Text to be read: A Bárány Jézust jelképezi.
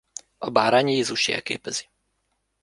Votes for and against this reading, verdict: 2, 0, accepted